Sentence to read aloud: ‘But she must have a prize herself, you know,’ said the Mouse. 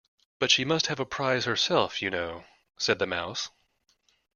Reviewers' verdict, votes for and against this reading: accepted, 2, 0